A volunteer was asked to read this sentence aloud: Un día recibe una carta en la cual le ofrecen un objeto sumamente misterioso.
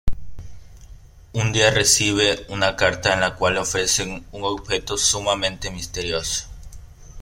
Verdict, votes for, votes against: rejected, 1, 2